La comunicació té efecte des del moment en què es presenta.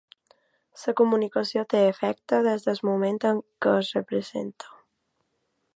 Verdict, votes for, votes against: rejected, 0, 2